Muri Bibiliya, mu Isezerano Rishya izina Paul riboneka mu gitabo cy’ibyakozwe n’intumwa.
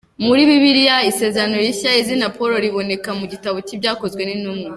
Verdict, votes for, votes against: rejected, 1, 2